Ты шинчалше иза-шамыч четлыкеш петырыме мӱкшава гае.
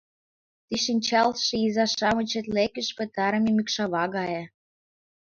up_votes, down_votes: 2, 1